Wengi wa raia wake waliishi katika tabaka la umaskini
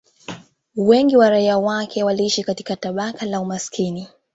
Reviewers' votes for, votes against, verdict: 2, 0, accepted